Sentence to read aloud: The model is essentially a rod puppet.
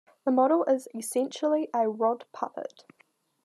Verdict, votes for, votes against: accepted, 2, 0